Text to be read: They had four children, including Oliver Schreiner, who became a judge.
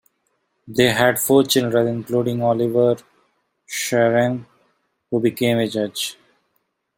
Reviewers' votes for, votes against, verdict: 2, 0, accepted